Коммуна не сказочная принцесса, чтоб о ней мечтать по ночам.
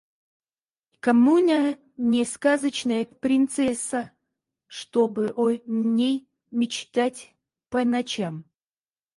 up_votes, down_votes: 2, 4